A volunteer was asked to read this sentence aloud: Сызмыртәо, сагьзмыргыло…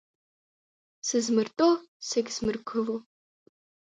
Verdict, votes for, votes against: accepted, 3, 0